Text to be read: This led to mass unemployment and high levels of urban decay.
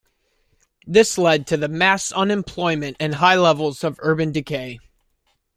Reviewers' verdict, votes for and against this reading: rejected, 1, 2